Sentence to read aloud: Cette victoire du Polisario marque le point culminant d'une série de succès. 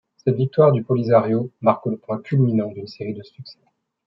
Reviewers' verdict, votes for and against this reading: accepted, 2, 0